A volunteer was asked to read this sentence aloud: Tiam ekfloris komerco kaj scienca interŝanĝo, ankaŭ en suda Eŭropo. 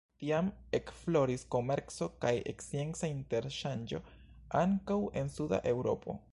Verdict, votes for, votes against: rejected, 1, 2